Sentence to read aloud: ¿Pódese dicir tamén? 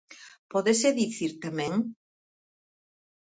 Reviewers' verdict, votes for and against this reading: accepted, 4, 0